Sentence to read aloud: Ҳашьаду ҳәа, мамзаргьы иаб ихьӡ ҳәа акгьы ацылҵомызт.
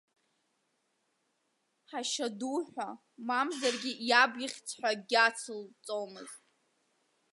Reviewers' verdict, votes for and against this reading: rejected, 1, 2